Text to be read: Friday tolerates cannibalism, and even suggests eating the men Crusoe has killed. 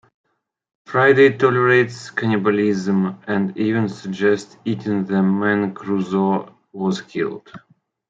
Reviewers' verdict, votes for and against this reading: accepted, 3, 1